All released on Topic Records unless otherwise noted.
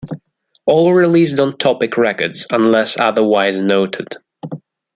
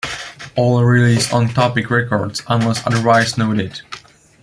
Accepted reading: first